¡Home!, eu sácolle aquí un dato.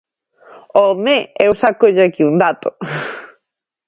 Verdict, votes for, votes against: accepted, 2, 0